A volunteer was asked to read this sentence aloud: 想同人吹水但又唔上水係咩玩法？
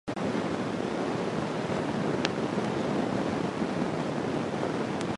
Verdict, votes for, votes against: rejected, 0, 2